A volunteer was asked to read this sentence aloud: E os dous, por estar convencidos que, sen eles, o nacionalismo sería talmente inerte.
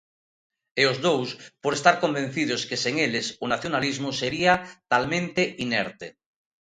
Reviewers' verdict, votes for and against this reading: accepted, 2, 0